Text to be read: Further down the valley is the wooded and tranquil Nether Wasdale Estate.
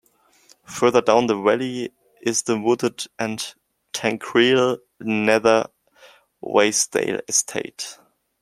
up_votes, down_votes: 0, 2